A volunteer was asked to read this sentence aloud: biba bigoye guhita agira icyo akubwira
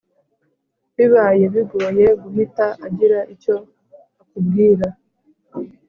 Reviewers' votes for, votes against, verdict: 2, 0, accepted